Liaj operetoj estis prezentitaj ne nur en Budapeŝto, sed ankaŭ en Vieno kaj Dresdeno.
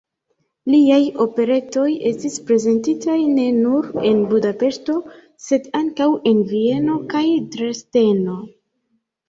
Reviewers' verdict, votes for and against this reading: rejected, 1, 2